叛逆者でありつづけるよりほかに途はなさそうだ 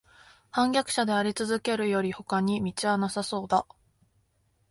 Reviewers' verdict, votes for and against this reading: accepted, 3, 0